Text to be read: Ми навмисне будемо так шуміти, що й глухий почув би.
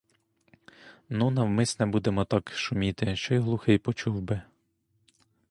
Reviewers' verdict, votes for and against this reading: rejected, 0, 2